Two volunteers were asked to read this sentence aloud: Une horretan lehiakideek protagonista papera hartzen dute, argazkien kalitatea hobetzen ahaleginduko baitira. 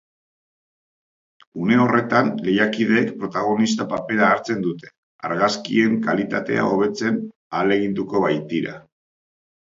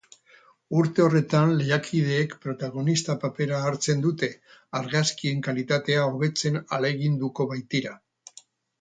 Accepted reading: first